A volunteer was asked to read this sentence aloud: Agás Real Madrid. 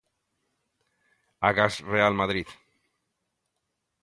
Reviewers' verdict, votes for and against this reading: accepted, 2, 0